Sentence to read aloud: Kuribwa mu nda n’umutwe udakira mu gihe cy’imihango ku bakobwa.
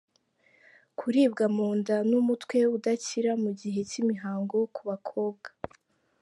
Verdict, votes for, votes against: accepted, 2, 0